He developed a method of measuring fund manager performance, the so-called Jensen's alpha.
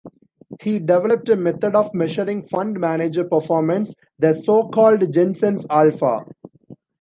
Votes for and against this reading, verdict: 2, 0, accepted